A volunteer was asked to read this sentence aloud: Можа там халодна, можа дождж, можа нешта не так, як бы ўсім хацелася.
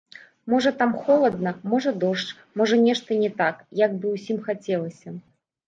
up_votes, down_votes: 1, 2